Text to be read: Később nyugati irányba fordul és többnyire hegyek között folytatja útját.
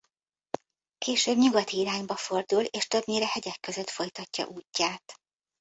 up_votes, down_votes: 2, 0